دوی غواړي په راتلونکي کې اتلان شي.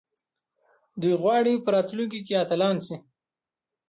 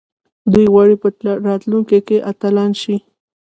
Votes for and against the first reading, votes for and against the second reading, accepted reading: 2, 0, 1, 2, first